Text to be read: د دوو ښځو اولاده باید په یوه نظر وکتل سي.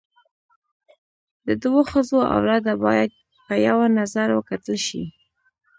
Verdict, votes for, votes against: rejected, 0, 2